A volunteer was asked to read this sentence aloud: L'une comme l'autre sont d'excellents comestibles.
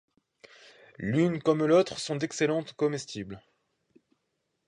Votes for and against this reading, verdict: 2, 1, accepted